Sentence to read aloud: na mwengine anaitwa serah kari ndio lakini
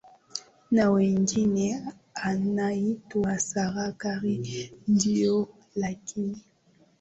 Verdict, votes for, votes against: accepted, 2, 1